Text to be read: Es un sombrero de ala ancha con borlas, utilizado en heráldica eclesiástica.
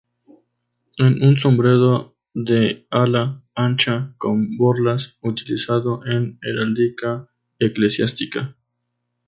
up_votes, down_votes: 0, 2